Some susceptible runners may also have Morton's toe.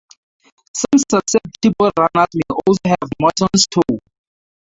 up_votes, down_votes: 0, 4